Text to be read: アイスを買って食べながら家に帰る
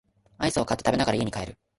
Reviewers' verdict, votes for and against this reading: rejected, 0, 2